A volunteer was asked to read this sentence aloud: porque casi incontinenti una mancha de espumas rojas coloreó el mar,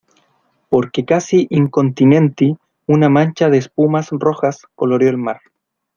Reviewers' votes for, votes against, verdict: 2, 0, accepted